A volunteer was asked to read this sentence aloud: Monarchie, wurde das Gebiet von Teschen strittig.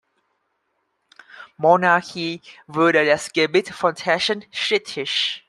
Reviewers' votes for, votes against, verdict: 0, 2, rejected